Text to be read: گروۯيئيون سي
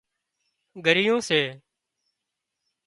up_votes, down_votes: 0, 2